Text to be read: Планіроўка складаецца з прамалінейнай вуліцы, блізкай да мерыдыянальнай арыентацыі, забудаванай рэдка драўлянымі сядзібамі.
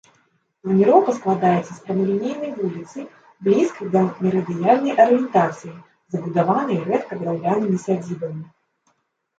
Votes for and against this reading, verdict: 0, 2, rejected